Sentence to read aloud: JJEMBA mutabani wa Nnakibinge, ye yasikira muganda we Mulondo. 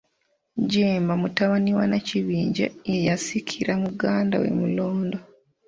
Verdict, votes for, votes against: rejected, 0, 2